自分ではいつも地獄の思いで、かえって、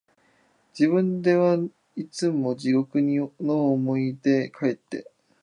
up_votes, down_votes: 1, 2